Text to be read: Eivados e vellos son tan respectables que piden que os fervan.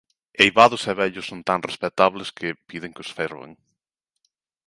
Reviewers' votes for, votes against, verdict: 2, 0, accepted